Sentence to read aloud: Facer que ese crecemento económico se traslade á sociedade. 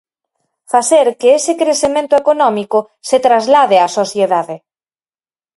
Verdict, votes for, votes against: accepted, 4, 0